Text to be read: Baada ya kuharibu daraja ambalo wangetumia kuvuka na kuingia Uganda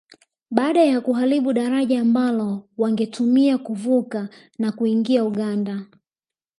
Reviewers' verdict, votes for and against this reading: rejected, 0, 2